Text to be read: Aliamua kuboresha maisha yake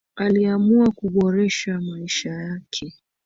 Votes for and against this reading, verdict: 2, 0, accepted